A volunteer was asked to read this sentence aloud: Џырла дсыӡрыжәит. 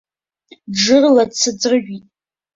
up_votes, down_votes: 2, 0